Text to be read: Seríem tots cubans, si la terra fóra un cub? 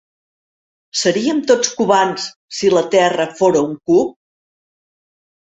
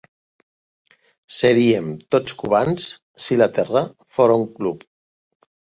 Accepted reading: first